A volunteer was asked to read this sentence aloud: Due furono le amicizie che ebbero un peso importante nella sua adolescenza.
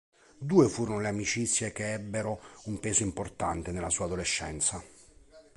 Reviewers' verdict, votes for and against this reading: accepted, 2, 0